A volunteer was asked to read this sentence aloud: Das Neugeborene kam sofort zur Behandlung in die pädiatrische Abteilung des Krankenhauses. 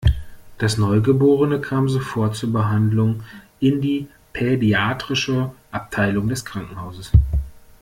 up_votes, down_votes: 2, 0